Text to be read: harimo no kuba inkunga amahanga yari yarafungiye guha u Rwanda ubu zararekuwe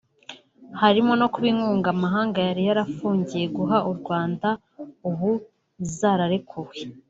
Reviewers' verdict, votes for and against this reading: accepted, 2, 0